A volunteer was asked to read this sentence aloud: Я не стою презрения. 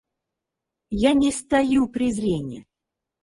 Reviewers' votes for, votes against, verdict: 0, 4, rejected